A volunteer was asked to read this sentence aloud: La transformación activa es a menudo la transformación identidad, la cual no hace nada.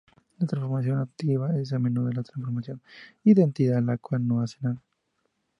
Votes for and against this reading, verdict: 0, 2, rejected